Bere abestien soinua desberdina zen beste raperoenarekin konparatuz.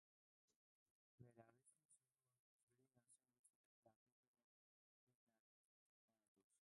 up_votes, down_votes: 0, 2